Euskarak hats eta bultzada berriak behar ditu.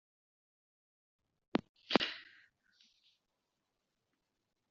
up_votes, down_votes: 0, 2